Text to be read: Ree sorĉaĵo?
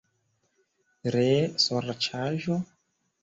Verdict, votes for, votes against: rejected, 0, 2